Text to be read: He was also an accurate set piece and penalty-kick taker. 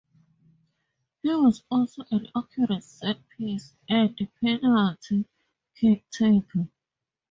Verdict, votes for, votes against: accepted, 2, 0